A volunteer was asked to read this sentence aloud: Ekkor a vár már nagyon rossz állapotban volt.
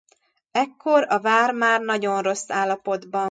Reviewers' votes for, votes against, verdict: 1, 2, rejected